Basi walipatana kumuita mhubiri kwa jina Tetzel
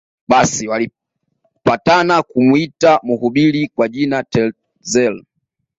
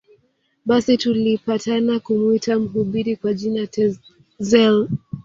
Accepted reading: first